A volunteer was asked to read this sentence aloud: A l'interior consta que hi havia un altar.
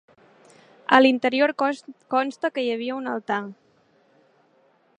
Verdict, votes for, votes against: rejected, 0, 2